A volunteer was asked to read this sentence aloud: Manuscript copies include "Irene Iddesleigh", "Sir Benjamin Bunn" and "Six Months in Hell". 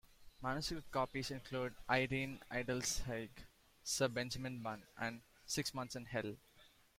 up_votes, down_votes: 2, 1